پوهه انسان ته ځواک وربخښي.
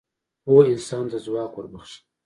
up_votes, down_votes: 2, 0